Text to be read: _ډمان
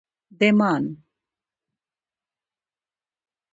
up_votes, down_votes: 2, 0